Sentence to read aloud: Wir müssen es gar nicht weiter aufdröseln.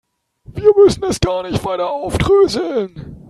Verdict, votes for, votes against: rejected, 0, 3